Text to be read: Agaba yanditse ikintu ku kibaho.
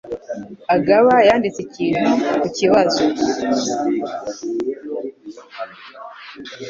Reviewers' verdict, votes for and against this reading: rejected, 1, 2